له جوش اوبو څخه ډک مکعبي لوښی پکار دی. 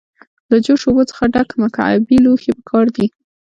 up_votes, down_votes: 2, 0